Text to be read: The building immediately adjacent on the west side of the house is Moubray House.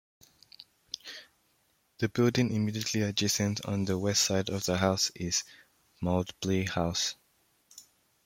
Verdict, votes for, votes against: rejected, 0, 2